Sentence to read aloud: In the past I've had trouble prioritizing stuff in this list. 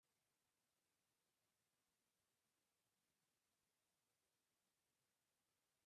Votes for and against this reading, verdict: 0, 2, rejected